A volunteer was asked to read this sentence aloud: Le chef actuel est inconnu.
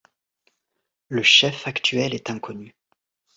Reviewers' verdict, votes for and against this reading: accepted, 2, 0